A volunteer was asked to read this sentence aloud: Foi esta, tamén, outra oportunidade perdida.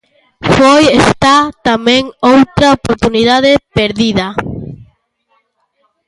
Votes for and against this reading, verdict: 2, 1, accepted